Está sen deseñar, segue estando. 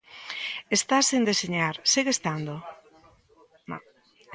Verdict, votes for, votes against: accepted, 2, 0